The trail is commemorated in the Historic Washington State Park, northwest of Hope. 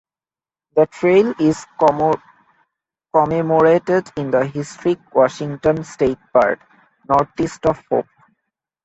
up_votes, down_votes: 0, 2